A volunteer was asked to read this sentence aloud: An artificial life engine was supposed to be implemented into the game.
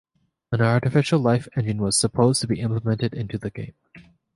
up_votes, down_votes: 3, 0